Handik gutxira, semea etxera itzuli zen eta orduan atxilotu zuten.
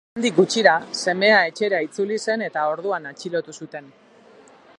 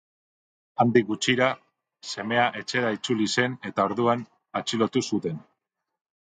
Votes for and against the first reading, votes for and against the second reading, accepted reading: 2, 3, 2, 0, second